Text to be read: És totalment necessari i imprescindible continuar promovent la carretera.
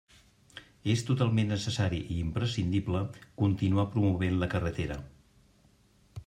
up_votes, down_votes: 3, 0